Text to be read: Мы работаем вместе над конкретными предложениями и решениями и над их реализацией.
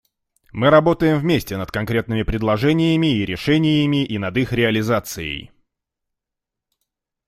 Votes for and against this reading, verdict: 2, 0, accepted